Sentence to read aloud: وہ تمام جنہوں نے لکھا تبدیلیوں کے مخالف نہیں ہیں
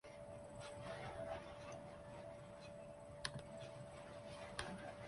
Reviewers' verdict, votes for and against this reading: rejected, 0, 2